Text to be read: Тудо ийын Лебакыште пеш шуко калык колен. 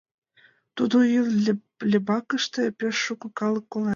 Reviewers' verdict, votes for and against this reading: rejected, 0, 2